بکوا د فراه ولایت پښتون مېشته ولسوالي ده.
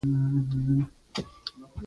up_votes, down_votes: 0, 2